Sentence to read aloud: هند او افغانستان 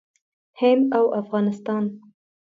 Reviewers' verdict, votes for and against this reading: accepted, 2, 0